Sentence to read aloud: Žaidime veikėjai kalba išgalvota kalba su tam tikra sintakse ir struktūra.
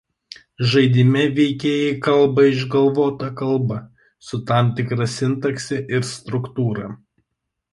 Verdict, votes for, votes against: rejected, 0, 2